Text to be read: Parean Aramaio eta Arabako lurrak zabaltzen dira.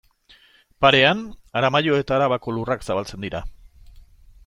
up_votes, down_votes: 2, 0